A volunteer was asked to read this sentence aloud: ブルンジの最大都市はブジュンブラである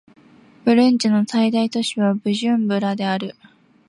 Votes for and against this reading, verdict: 2, 0, accepted